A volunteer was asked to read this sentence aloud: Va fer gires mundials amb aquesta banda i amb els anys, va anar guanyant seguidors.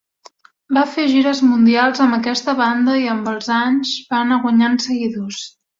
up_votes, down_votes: 2, 0